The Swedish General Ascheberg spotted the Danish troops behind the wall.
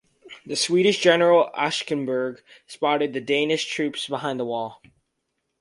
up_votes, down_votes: 0, 2